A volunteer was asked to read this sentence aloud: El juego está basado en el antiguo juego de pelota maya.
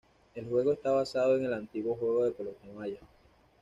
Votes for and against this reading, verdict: 0, 2, rejected